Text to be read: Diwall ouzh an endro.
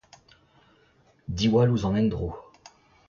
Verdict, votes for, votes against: accepted, 2, 1